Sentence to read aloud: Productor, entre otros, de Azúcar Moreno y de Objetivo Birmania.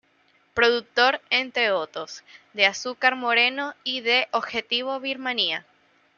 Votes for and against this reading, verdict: 2, 0, accepted